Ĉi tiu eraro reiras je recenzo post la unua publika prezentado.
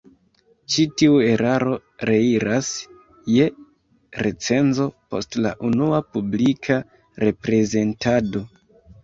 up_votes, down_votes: 1, 2